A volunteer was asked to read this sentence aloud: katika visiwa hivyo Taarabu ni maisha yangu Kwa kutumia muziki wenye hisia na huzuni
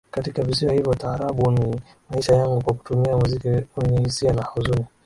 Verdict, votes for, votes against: accepted, 2, 0